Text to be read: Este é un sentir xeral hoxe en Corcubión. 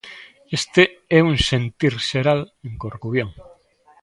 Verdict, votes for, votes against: rejected, 0, 2